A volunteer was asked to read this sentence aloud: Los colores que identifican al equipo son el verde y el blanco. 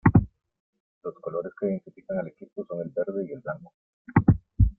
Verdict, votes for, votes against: rejected, 0, 2